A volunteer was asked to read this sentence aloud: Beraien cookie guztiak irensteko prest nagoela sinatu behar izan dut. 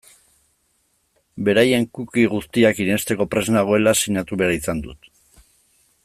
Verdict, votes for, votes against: accepted, 2, 0